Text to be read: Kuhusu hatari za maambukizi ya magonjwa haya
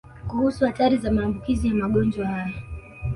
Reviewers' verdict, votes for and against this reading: accepted, 2, 0